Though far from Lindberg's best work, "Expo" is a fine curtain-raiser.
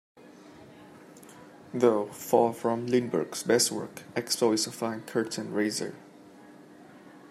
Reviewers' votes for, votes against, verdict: 2, 0, accepted